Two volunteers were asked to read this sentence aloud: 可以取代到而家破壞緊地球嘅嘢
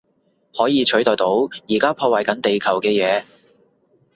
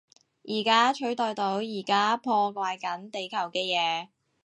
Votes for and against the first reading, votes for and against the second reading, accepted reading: 2, 0, 0, 2, first